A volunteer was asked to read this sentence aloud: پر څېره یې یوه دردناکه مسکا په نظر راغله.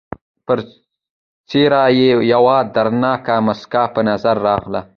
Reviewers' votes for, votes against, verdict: 2, 0, accepted